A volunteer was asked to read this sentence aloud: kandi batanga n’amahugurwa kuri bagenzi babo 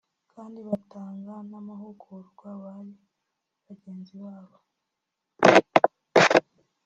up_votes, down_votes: 0, 2